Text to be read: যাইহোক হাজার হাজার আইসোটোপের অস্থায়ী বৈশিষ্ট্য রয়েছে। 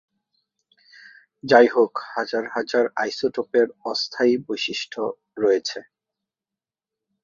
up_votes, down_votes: 2, 0